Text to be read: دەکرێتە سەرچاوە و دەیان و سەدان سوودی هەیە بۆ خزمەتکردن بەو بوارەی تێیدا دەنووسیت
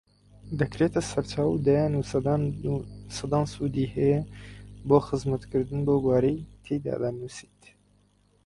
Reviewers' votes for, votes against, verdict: 0, 4, rejected